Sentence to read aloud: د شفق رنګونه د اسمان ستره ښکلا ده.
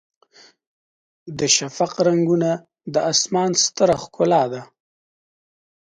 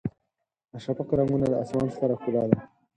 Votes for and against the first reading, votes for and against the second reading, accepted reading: 2, 0, 0, 4, first